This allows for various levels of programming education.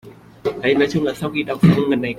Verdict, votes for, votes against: rejected, 0, 2